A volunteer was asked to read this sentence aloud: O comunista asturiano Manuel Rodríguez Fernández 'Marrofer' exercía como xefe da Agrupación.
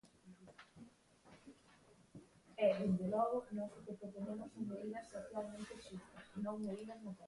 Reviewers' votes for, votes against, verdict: 0, 2, rejected